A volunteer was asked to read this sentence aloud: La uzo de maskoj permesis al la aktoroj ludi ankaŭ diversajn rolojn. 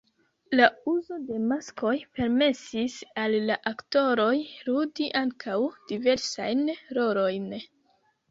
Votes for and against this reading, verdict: 1, 2, rejected